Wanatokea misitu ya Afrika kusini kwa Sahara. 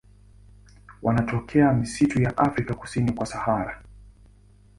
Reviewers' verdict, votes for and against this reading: accepted, 2, 0